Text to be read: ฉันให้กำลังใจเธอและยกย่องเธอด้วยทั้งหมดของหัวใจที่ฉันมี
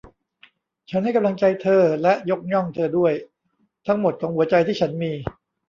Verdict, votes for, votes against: rejected, 1, 2